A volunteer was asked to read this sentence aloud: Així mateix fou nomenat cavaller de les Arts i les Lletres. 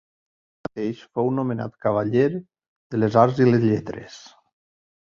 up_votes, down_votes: 0, 2